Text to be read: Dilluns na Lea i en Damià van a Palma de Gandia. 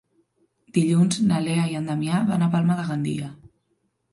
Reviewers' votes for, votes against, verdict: 2, 0, accepted